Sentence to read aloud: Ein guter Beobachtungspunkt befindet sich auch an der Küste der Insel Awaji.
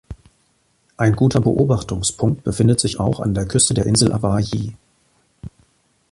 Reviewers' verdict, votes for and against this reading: accepted, 3, 1